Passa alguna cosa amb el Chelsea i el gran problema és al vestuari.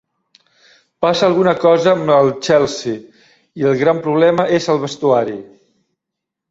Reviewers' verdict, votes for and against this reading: accepted, 2, 0